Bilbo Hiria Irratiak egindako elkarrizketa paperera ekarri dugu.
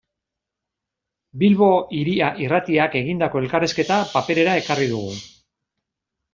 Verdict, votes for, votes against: accepted, 2, 0